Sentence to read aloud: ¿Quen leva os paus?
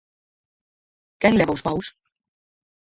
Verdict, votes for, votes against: accepted, 4, 2